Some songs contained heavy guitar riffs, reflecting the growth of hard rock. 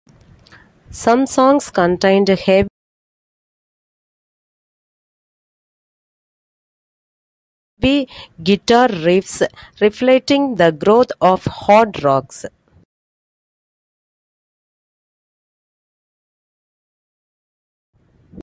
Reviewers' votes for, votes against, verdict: 0, 2, rejected